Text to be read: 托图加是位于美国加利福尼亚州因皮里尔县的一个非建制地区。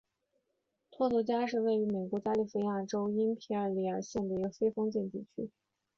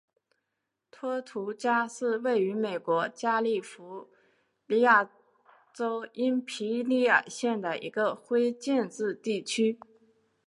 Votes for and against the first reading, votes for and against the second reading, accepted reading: 2, 1, 1, 2, first